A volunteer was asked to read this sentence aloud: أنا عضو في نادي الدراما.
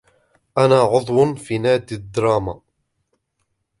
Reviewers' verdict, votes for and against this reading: accepted, 2, 0